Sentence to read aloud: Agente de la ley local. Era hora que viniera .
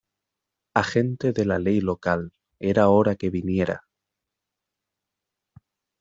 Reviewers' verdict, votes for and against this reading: accepted, 2, 0